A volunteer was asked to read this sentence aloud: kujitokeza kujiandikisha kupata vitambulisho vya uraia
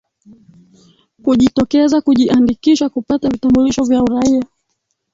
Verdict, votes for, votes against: rejected, 1, 3